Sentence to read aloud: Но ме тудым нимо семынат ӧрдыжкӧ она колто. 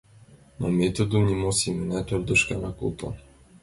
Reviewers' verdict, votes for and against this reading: accepted, 2, 0